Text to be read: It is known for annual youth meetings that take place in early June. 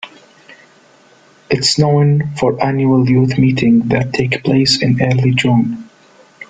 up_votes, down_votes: 2, 1